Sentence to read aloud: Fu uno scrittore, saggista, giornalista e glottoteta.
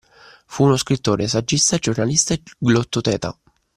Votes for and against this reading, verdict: 2, 0, accepted